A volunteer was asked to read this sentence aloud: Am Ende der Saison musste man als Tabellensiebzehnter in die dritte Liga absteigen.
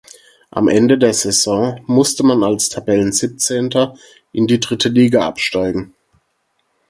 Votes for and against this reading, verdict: 4, 0, accepted